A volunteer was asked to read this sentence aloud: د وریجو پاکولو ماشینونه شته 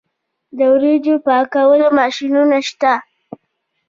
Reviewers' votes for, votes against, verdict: 1, 2, rejected